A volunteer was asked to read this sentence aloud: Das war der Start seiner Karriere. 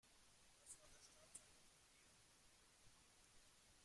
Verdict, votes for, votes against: rejected, 0, 2